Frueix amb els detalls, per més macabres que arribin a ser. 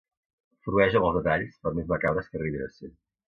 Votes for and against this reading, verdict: 2, 1, accepted